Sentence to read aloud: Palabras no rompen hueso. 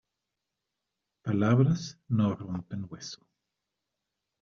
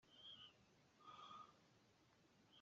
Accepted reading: first